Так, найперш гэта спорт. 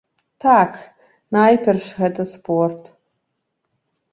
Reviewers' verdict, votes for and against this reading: rejected, 0, 2